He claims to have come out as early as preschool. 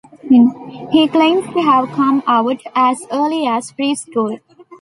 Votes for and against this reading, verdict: 1, 2, rejected